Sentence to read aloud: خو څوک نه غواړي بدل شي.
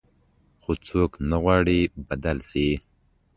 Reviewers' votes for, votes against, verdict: 2, 0, accepted